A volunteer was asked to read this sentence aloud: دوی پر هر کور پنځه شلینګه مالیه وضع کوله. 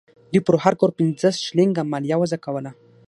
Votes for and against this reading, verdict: 6, 0, accepted